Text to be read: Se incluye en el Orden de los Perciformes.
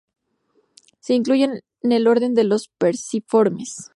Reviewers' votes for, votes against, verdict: 2, 0, accepted